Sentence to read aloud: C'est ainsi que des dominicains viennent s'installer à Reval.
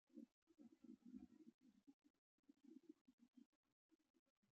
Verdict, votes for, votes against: rejected, 0, 2